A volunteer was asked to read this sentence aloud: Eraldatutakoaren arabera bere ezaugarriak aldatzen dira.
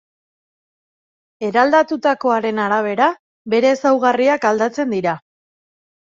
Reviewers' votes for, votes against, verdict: 2, 0, accepted